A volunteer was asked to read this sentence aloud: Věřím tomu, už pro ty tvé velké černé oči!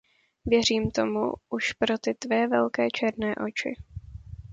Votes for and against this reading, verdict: 2, 0, accepted